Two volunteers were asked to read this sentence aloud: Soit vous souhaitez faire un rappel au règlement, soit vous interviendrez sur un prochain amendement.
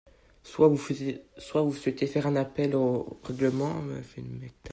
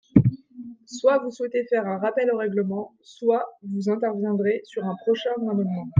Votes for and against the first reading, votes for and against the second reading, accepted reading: 0, 2, 2, 0, second